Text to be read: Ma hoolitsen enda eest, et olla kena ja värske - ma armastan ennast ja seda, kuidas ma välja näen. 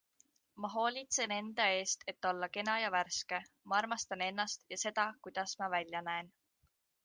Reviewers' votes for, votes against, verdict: 2, 0, accepted